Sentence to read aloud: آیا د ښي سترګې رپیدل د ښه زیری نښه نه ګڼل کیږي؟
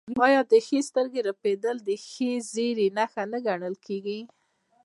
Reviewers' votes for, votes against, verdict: 0, 2, rejected